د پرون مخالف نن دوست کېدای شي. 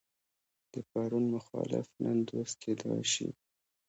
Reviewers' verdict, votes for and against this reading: rejected, 1, 2